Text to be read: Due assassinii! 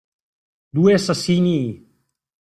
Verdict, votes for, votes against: accepted, 2, 1